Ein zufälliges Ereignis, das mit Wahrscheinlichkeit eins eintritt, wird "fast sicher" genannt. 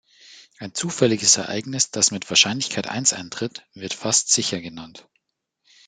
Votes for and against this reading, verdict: 2, 0, accepted